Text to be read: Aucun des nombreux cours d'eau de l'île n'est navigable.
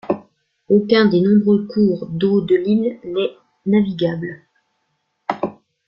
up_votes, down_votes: 0, 2